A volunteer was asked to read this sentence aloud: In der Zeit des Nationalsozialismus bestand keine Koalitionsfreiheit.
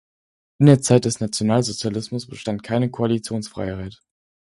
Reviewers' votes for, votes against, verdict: 4, 0, accepted